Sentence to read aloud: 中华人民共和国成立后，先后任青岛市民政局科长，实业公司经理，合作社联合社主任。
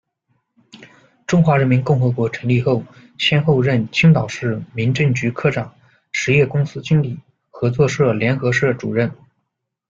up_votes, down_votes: 2, 0